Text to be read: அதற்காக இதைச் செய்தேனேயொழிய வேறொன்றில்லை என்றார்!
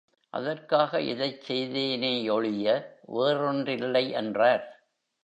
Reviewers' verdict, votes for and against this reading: accepted, 2, 0